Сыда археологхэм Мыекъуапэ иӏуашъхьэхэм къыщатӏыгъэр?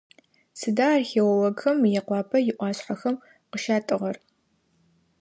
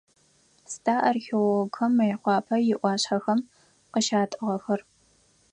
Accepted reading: first